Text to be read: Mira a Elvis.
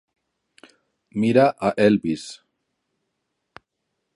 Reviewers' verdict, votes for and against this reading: accepted, 3, 0